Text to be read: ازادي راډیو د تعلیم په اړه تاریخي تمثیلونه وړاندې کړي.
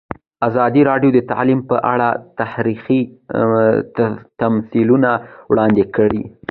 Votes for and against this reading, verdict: 0, 2, rejected